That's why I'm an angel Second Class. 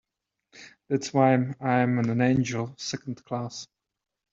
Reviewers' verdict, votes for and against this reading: rejected, 1, 2